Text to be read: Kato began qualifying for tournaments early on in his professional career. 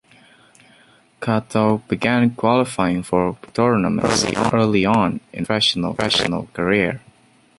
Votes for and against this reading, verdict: 0, 2, rejected